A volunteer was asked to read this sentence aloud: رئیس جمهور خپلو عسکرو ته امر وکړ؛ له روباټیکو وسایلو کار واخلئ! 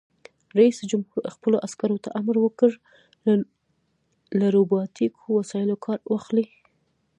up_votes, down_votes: 0, 2